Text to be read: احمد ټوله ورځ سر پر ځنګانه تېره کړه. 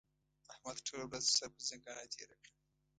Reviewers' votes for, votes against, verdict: 1, 2, rejected